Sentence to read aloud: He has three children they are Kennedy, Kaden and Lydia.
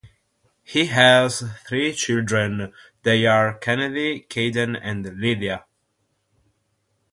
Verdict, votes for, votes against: accepted, 6, 0